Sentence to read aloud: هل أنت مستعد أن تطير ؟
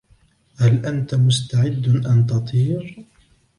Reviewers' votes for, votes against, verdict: 2, 0, accepted